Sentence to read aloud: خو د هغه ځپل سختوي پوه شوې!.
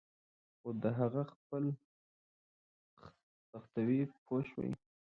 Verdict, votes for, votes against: rejected, 1, 2